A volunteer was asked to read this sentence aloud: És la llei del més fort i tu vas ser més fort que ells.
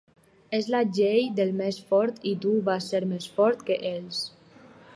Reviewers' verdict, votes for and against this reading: accepted, 4, 0